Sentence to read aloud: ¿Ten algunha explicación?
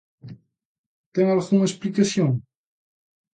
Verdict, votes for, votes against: accepted, 2, 0